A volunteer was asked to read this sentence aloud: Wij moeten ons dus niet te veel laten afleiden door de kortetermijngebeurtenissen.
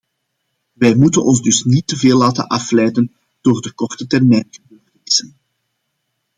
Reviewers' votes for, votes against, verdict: 0, 2, rejected